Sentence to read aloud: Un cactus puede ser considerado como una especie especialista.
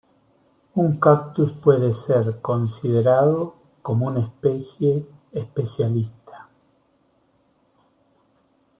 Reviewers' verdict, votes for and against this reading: accepted, 2, 0